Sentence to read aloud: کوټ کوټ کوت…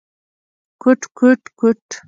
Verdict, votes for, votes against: accepted, 2, 0